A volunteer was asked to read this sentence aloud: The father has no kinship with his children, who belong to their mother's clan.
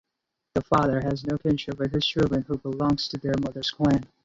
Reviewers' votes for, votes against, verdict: 0, 4, rejected